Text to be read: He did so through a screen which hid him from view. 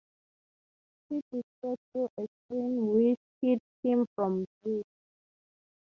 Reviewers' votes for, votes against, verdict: 6, 3, accepted